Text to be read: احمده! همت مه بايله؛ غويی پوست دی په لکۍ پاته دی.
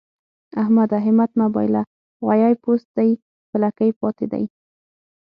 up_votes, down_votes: 9, 0